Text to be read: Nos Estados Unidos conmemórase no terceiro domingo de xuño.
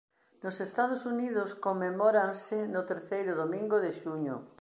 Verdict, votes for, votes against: rejected, 1, 2